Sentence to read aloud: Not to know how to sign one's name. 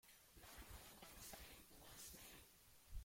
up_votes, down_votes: 0, 2